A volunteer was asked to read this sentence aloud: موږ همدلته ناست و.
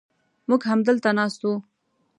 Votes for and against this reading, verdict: 2, 0, accepted